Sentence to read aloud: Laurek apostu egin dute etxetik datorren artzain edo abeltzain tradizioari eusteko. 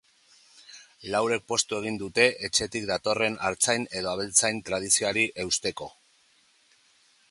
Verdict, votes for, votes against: rejected, 0, 2